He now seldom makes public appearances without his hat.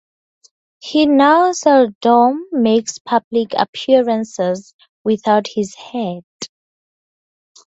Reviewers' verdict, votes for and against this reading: accepted, 2, 0